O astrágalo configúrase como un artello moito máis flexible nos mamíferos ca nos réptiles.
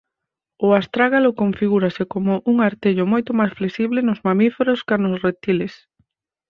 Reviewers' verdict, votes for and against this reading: rejected, 2, 4